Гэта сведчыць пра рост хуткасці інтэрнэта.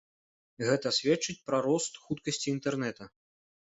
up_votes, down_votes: 2, 0